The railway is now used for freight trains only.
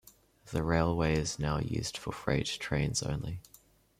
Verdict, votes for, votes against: rejected, 0, 2